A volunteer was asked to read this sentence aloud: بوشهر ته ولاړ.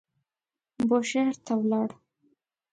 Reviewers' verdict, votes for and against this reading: accepted, 2, 0